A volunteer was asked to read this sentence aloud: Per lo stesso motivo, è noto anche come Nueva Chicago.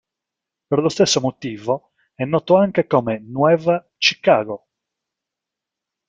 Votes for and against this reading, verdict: 1, 2, rejected